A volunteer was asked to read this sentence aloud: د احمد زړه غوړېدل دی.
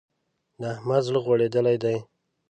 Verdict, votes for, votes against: rejected, 0, 2